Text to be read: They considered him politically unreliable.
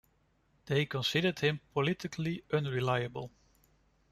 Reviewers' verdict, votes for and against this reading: accepted, 2, 0